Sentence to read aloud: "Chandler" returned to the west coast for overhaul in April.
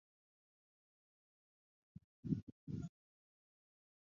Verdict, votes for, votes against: rejected, 0, 4